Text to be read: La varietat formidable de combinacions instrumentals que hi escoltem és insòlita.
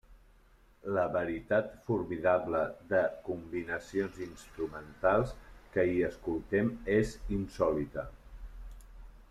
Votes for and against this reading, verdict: 0, 2, rejected